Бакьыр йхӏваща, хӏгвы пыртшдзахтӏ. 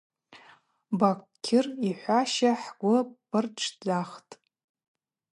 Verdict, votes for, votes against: accepted, 2, 0